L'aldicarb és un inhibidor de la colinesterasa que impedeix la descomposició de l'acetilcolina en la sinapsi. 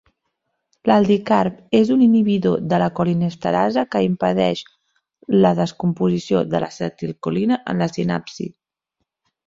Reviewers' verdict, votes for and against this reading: accepted, 3, 0